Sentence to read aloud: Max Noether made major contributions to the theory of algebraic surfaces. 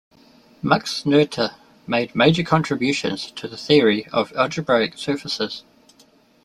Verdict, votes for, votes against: accepted, 2, 0